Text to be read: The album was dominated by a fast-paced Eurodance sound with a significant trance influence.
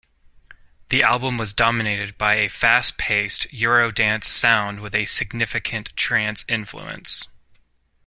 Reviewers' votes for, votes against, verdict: 2, 0, accepted